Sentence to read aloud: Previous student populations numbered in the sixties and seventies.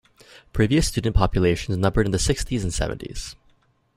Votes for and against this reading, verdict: 2, 0, accepted